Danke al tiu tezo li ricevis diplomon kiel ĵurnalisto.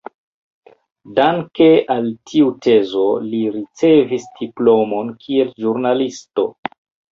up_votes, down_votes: 2, 0